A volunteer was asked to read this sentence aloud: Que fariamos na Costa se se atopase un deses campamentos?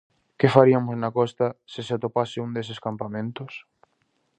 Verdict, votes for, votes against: rejected, 0, 2